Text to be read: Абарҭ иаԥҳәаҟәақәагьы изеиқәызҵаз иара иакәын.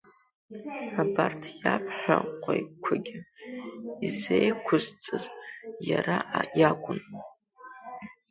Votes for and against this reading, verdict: 1, 2, rejected